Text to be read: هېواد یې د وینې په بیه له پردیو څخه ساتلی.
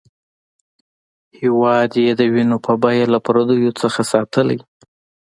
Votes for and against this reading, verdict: 2, 0, accepted